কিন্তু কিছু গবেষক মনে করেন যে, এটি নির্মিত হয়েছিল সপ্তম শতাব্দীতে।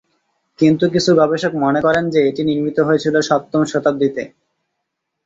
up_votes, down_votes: 2, 0